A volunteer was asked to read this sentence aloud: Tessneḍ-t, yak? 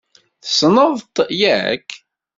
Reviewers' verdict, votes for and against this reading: accepted, 2, 0